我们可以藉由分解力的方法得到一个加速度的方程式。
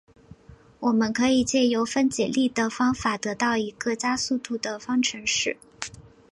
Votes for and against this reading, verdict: 4, 0, accepted